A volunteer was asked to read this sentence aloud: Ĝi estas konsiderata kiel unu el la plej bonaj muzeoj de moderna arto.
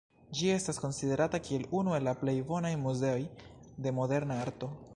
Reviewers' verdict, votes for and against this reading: accepted, 2, 0